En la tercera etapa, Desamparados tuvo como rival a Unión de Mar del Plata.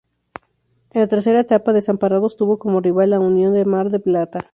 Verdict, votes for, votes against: rejected, 0, 2